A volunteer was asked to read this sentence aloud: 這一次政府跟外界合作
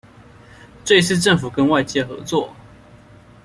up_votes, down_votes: 2, 0